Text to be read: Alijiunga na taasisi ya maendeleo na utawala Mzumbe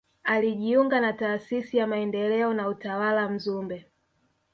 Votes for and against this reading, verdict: 3, 0, accepted